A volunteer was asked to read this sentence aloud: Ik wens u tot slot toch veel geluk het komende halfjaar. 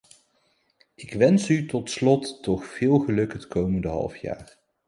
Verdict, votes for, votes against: accepted, 2, 0